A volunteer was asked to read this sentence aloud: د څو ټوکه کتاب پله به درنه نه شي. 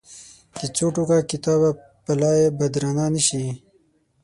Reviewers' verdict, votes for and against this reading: rejected, 3, 6